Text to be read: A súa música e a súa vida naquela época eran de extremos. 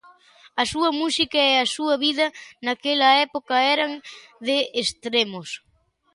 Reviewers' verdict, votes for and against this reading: accepted, 2, 0